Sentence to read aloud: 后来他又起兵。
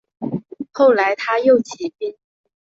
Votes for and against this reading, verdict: 2, 0, accepted